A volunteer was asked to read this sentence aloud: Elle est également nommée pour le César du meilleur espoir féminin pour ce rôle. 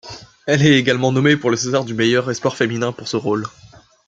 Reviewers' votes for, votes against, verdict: 2, 1, accepted